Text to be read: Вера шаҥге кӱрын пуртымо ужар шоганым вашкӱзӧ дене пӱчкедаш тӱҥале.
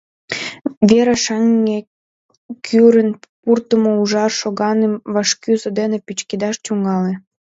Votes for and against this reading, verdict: 1, 2, rejected